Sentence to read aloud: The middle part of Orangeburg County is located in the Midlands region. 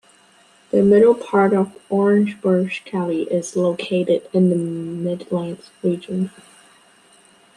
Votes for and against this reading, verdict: 1, 2, rejected